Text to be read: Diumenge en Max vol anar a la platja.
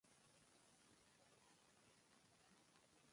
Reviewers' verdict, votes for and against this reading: rejected, 0, 3